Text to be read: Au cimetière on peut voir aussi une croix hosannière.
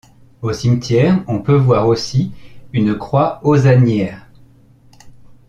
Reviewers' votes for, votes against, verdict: 2, 0, accepted